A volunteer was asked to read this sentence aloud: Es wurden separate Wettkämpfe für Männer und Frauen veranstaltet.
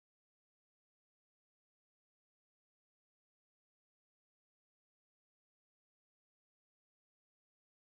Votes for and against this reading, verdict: 0, 2, rejected